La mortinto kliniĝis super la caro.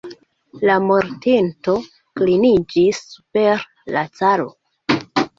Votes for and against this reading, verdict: 1, 2, rejected